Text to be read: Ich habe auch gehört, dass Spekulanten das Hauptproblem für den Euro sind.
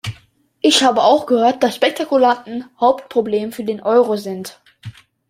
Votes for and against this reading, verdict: 0, 2, rejected